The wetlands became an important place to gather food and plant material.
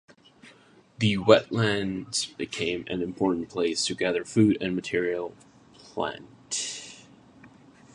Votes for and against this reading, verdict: 0, 6, rejected